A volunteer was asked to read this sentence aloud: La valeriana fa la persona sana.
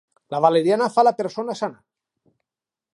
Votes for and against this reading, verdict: 2, 0, accepted